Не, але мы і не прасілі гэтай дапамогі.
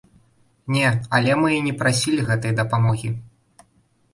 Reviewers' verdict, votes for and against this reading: accepted, 2, 0